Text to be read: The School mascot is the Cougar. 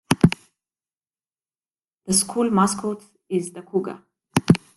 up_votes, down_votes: 2, 1